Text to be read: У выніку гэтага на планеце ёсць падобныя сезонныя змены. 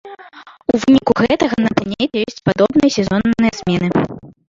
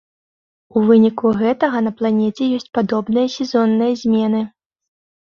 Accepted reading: second